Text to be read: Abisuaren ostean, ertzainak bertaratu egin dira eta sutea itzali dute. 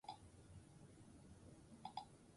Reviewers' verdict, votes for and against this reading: rejected, 0, 2